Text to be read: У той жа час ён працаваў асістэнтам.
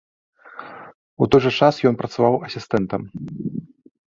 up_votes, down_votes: 2, 0